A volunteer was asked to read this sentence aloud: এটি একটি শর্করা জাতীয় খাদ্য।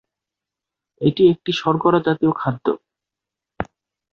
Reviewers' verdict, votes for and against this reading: accepted, 3, 0